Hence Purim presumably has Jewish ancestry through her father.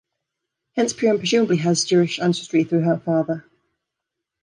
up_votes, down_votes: 2, 1